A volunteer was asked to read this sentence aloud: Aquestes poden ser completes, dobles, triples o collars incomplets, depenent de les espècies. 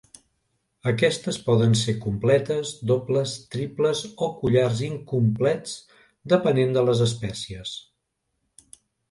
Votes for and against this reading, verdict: 3, 0, accepted